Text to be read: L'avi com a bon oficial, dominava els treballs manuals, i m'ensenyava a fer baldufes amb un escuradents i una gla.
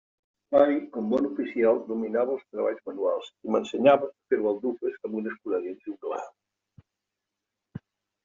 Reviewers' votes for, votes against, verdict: 1, 2, rejected